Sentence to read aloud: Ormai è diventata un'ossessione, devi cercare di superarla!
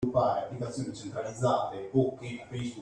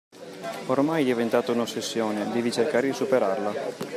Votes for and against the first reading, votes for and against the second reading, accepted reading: 0, 2, 2, 0, second